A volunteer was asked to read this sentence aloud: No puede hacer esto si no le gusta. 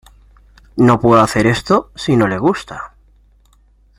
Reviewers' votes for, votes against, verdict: 2, 0, accepted